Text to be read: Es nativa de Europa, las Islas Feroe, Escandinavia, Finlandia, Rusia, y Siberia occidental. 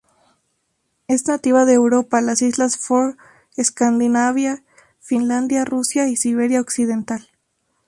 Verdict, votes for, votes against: rejected, 0, 2